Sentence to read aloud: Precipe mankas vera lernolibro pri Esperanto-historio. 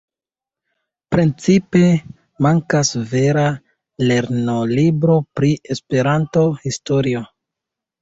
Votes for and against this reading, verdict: 0, 2, rejected